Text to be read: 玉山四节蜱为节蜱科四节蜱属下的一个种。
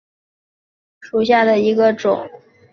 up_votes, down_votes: 0, 4